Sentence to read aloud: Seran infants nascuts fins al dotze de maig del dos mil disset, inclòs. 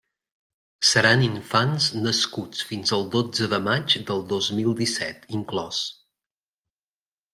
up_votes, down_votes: 3, 0